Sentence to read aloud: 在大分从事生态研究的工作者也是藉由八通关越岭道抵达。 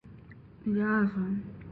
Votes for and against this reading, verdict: 0, 3, rejected